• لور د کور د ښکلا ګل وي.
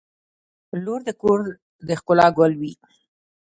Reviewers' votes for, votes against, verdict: 0, 2, rejected